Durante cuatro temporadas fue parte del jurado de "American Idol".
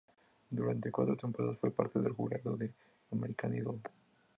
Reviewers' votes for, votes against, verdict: 2, 0, accepted